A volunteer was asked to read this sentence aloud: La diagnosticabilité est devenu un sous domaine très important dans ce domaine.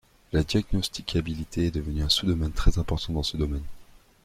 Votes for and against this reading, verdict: 2, 0, accepted